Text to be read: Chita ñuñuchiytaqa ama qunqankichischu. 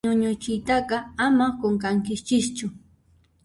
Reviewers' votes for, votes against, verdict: 0, 2, rejected